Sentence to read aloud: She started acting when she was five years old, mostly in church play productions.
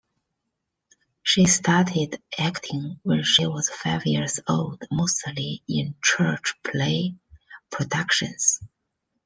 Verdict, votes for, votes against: accepted, 2, 0